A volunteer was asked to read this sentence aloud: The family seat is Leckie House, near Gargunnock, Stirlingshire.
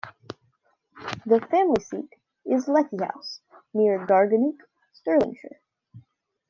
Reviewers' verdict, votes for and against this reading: rejected, 1, 2